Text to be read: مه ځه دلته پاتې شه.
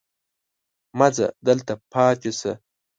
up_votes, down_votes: 2, 0